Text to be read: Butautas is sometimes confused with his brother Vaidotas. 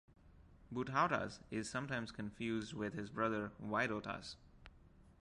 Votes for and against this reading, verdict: 2, 1, accepted